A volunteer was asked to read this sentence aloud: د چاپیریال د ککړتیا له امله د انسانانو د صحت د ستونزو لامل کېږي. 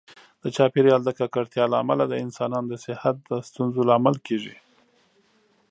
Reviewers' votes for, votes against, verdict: 2, 0, accepted